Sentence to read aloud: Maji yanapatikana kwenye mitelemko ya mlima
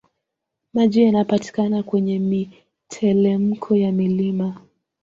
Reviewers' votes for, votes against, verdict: 2, 0, accepted